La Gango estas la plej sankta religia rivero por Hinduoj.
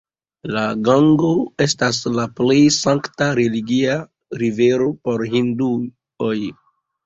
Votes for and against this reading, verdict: 1, 2, rejected